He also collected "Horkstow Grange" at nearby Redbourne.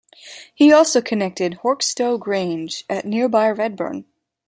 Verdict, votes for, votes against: rejected, 1, 2